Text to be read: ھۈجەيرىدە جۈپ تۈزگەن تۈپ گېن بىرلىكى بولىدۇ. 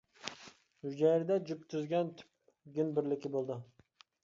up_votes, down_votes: 2, 1